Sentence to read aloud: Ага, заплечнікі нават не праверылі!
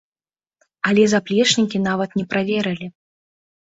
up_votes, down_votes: 1, 2